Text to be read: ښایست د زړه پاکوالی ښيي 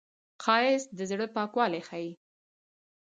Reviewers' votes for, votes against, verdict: 2, 2, rejected